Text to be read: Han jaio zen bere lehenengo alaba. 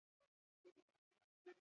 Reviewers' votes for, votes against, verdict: 0, 4, rejected